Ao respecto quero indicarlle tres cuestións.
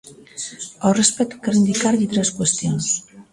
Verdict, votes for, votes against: accepted, 2, 0